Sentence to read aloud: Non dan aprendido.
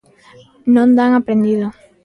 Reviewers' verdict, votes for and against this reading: accepted, 2, 0